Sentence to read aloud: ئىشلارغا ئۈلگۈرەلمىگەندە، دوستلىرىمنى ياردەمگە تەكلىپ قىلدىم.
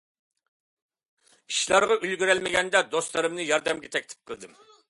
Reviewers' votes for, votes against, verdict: 2, 0, accepted